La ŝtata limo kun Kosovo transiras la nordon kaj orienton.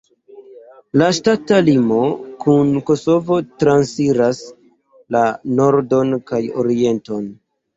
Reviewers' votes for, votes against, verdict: 1, 2, rejected